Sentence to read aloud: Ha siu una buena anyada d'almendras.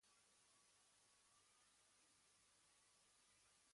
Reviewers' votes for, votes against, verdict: 1, 2, rejected